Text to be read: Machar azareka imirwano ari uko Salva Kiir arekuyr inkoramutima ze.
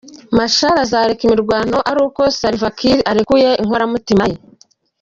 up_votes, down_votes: 1, 2